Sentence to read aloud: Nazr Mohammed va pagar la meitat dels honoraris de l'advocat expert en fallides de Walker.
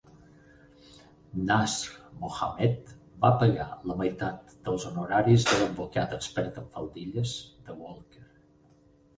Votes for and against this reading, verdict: 0, 8, rejected